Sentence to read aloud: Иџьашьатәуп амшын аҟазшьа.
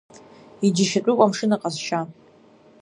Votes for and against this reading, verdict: 2, 0, accepted